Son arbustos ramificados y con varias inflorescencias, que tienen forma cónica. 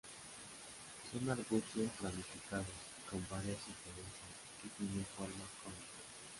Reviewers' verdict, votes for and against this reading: rejected, 0, 2